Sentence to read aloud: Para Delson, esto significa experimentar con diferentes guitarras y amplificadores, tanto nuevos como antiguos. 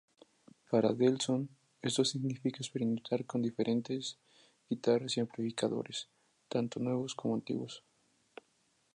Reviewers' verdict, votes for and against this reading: accepted, 4, 0